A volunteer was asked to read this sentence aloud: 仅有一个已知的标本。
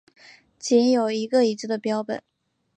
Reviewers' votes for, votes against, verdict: 2, 0, accepted